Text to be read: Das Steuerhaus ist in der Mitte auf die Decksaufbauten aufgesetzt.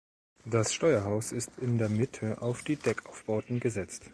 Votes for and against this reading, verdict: 0, 2, rejected